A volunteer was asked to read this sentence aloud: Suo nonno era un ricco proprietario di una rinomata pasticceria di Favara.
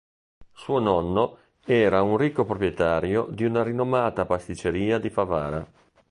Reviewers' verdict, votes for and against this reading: accepted, 2, 0